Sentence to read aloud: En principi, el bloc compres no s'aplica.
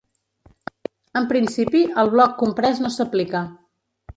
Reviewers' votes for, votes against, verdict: 1, 2, rejected